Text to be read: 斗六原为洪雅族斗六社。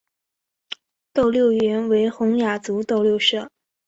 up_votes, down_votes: 2, 0